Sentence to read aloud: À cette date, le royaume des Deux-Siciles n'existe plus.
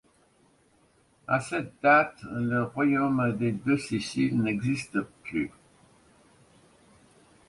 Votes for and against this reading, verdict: 2, 0, accepted